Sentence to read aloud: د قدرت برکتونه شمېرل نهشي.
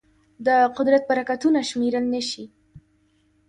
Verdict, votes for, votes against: rejected, 1, 2